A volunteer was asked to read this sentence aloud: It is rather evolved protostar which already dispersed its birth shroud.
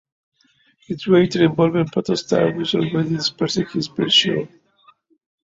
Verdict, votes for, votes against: rejected, 0, 2